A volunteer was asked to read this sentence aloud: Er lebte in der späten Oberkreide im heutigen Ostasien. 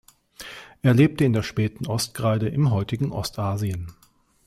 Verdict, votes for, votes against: rejected, 0, 2